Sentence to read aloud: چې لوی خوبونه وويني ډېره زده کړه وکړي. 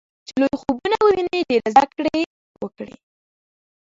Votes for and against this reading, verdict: 0, 2, rejected